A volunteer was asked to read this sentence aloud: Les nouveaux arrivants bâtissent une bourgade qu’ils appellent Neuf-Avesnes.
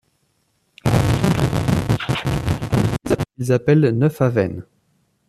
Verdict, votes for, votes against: rejected, 0, 2